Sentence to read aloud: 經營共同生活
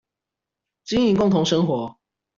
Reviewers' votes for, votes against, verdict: 2, 0, accepted